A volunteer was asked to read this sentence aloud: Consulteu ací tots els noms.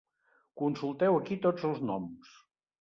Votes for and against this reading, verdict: 1, 2, rejected